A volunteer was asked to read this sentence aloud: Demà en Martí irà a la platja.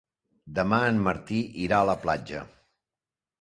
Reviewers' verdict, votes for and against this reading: accepted, 3, 0